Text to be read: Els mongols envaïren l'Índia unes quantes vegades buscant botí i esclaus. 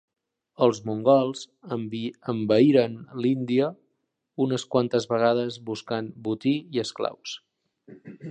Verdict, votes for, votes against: rejected, 1, 2